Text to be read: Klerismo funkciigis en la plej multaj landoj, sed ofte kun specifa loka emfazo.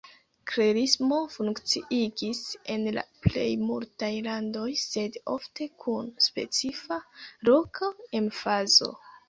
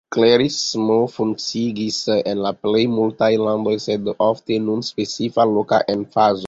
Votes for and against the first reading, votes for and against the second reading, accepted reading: 0, 2, 2, 1, second